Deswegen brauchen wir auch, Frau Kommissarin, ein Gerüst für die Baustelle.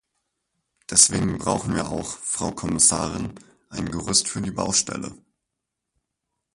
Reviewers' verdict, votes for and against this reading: accepted, 4, 2